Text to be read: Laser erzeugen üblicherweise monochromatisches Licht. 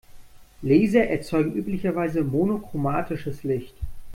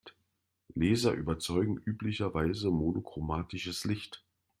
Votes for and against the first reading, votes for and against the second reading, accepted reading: 2, 0, 0, 2, first